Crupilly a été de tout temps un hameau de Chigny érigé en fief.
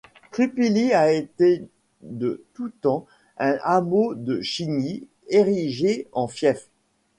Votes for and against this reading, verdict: 2, 0, accepted